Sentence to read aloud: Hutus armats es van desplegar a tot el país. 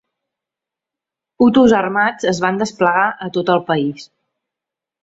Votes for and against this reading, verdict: 4, 0, accepted